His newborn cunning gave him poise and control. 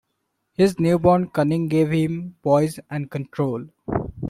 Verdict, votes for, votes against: accepted, 2, 0